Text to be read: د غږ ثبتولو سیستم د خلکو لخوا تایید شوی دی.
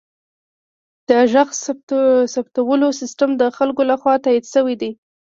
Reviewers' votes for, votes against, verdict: 0, 2, rejected